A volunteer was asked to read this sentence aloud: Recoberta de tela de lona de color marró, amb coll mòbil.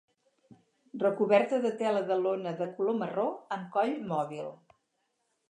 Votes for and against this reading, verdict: 2, 0, accepted